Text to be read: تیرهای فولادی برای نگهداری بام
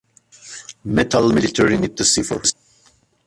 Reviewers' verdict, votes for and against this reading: rejected, 0, 2